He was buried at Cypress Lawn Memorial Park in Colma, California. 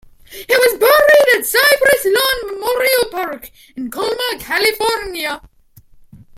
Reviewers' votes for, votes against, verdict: 2, 0, accepted